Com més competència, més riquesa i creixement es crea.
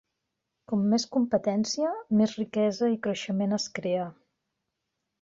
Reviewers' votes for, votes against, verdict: 3, 0, accepted